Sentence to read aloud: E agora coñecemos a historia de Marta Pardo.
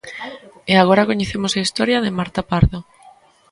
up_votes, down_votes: 2, 0